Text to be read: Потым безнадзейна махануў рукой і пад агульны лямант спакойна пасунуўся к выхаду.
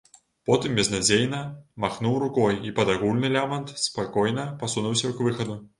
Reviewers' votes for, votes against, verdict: 0, 2, rejected